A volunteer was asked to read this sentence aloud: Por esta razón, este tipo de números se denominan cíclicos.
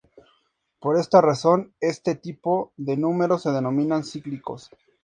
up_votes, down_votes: 4, 0